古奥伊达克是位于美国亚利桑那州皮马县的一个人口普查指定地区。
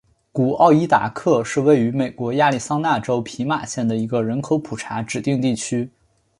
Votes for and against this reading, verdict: 5, 2, accepted